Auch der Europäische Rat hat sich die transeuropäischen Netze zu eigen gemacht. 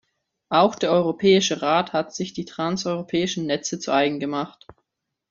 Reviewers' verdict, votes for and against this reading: accepted, 2, 1